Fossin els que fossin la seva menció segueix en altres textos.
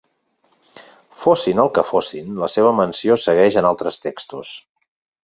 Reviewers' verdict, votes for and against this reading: rejected, 2, 4